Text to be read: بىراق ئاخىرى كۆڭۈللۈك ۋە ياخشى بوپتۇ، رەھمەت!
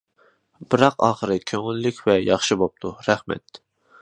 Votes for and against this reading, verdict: 2, 0, accepted